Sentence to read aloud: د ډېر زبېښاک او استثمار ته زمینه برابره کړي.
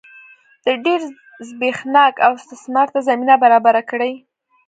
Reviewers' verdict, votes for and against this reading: accepted, 2, 0